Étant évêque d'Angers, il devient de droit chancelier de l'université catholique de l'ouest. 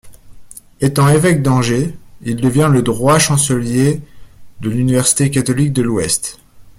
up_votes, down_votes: 1, 2